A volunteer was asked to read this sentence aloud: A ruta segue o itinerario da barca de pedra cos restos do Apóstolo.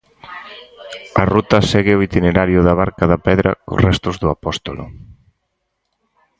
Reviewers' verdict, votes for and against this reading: rejected, 2, 4